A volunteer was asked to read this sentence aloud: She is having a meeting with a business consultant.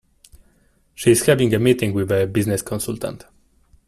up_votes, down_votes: 2, 1